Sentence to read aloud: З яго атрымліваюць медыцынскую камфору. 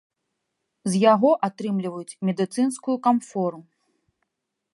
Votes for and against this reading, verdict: 2, 1, accepted